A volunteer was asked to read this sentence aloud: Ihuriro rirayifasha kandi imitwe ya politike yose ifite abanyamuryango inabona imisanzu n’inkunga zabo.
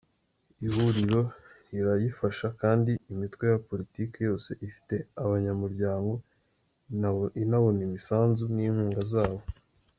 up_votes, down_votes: 2, 3